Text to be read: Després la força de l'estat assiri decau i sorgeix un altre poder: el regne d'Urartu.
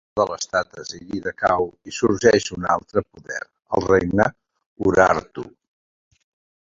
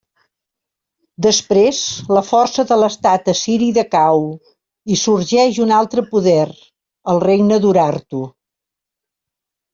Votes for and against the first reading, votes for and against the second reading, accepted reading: 0, 2, 3, 0, second